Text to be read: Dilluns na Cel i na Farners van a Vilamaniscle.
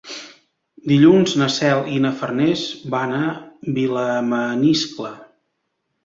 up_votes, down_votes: 2, 1